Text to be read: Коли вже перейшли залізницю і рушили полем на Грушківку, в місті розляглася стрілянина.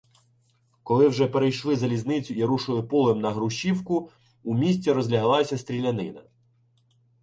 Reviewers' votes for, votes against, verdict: 0, 2, rejected